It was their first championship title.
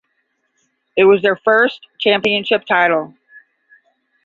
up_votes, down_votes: 10, 0